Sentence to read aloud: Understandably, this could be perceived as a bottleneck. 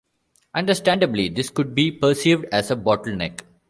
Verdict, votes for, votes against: accepted, 2, 1